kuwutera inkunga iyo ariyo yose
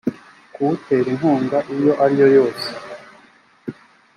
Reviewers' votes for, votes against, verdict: 2, 0, accepted